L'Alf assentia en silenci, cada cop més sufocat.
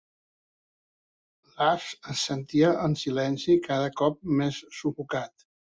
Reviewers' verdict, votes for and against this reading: accepted, 2, 0